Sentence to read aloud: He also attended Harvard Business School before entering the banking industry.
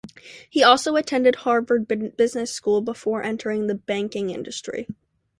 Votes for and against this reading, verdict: 0, 2, rejected